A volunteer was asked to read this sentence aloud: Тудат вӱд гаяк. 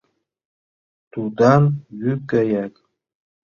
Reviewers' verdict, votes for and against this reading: rejected, 0, 2